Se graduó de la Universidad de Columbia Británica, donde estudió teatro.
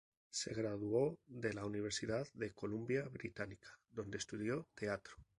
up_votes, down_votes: 2, 0